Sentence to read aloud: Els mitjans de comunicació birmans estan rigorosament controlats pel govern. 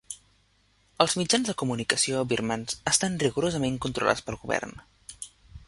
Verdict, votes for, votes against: rejected, 1, 2